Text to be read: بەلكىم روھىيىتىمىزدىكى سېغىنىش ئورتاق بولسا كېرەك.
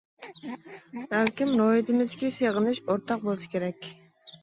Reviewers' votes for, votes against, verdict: 1, 2, rejected